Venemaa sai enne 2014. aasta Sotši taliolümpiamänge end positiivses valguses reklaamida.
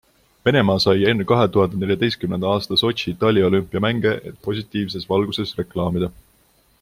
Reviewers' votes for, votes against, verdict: 0, 2, rejected